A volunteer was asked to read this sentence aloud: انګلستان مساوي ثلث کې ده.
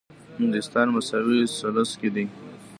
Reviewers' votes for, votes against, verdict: 1, 2, rejected